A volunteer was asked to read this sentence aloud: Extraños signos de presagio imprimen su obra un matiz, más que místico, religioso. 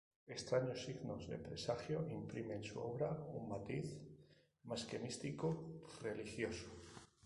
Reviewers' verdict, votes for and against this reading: rejected, 0, 2